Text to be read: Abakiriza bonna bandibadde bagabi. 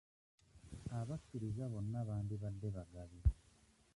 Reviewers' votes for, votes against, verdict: 0, 2, rejected